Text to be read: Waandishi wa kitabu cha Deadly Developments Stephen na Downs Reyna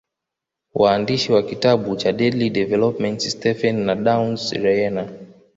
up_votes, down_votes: 2, 1